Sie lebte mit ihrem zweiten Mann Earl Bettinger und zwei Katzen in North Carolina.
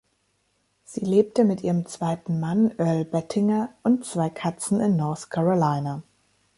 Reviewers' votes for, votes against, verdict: 2, 0, accepted